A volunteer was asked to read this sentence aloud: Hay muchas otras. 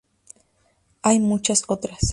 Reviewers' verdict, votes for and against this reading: accepted, 2, 0